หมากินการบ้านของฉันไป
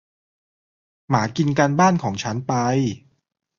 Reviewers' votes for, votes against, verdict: 2, 0, accepted